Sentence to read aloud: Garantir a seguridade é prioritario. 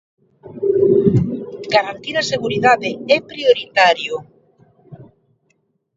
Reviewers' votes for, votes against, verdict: 2, 0, accepted